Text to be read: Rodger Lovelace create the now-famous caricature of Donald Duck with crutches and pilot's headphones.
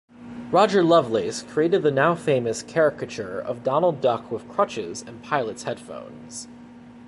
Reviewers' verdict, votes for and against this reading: accepted, 2, 0